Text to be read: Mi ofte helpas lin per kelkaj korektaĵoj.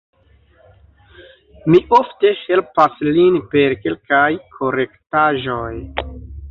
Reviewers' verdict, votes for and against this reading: rejected, 0, 2